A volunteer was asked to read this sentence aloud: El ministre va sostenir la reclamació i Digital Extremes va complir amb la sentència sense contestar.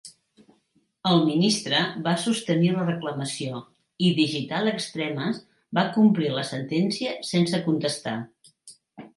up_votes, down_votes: 2, 1